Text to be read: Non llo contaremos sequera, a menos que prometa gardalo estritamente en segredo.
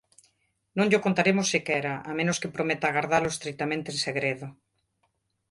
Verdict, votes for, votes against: accepted, 2, 0